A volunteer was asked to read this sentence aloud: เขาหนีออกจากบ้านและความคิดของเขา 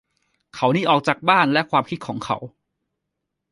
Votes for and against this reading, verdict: 2, 0, accepted